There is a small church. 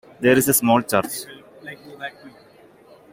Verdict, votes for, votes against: accepted, 3, 0